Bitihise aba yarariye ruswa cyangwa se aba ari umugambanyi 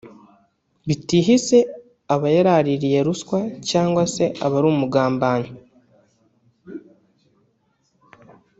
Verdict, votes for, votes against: rejected, 0, 2